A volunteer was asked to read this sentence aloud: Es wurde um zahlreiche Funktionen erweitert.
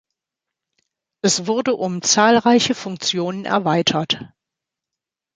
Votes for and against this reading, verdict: 2, 0, accepted